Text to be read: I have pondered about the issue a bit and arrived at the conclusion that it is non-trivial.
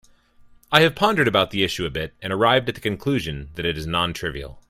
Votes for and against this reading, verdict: 2, 0, accepted